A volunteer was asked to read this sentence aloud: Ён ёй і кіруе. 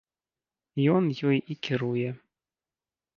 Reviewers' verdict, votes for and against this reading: accepted, 3, 0